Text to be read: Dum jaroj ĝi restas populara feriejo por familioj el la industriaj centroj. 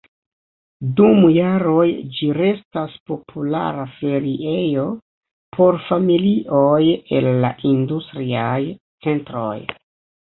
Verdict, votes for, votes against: accepted, 2, 0